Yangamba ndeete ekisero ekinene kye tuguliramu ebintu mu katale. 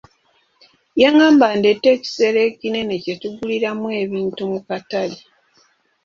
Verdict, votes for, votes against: accepted, 3, 0